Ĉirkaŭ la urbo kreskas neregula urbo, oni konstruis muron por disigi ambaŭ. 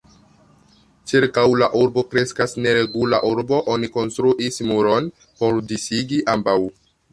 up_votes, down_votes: 2, 1